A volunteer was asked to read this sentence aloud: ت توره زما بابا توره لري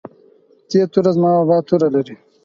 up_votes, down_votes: 4, 0